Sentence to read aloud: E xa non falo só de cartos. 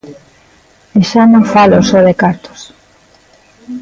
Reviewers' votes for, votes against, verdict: 2, 0, accepted